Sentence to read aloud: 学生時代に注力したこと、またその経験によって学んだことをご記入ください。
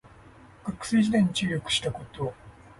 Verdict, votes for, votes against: rejected, 0, 2